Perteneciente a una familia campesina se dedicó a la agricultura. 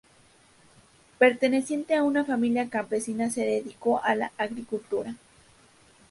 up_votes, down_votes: 2, 2